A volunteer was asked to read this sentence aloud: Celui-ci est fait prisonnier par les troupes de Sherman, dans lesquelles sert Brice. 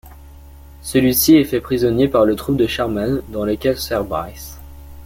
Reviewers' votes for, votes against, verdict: 1, 2, rejected